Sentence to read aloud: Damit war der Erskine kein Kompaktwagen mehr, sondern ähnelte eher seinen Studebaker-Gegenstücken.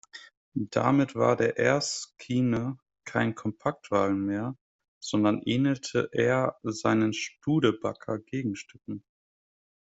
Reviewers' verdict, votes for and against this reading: accepted, 2, 1